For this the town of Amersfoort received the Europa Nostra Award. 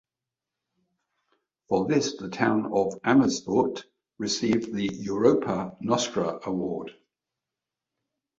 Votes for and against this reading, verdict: 2, 0, accepted